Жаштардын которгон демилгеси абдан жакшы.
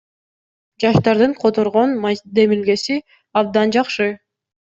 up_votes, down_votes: 1, 2